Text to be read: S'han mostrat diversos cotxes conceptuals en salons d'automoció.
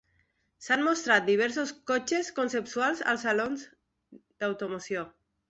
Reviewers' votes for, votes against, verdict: 1, 2, rejected